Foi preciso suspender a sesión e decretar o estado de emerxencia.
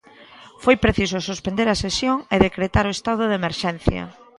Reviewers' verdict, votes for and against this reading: rejected, 1, 2